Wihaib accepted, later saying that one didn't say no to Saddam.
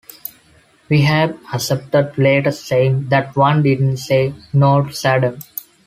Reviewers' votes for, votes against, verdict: 2, 0, accepted